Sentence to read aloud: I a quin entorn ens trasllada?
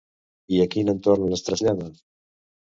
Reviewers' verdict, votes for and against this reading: accepted, 2, 0